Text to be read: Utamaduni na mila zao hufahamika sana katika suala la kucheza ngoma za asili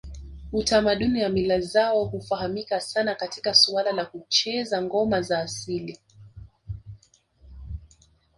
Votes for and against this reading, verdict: 1, 2, rejected